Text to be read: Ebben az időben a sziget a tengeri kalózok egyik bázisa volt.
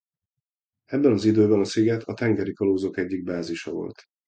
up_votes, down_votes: 2, 0